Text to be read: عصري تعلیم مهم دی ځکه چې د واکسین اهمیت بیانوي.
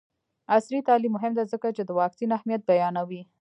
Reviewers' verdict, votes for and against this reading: rejected, 1, 2